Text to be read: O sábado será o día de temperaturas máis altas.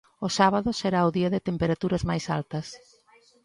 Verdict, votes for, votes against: rejected, 1, 2